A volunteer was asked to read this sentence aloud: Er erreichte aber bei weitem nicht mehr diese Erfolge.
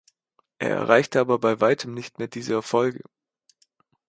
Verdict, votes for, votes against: accepted, 2, 0